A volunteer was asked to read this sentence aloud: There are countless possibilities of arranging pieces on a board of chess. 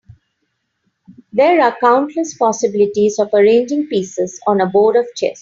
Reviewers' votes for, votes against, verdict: 3, 1, accepted